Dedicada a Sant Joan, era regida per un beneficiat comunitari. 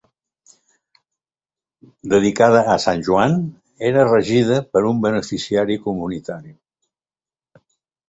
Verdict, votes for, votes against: rejected, 0, 2